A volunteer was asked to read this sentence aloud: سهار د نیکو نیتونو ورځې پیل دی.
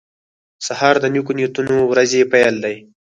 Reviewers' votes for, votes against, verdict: 0, 4, rejected